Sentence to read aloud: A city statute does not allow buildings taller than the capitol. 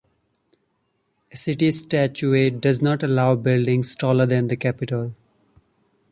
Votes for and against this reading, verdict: 1, 2, rejected